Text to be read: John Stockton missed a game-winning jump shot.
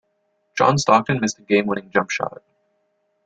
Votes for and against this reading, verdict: 2, 1, accepted